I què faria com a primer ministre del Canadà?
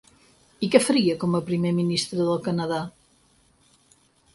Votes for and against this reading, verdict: 6, 0, accepted